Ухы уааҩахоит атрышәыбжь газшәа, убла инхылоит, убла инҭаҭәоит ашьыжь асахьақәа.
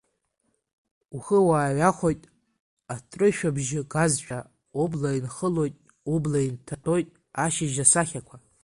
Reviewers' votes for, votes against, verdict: 1, 3, rejected